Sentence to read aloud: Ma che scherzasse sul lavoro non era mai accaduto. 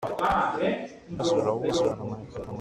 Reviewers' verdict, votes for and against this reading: rejected, 0, 2